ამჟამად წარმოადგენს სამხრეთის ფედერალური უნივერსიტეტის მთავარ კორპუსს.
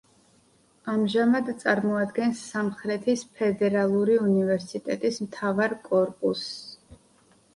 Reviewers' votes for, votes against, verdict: 4, 0, accepted